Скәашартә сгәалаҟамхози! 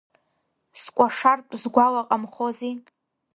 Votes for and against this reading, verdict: 2, 0, accepted